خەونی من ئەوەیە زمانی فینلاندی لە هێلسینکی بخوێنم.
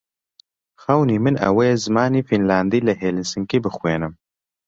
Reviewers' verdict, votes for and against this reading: accepted, 2, 1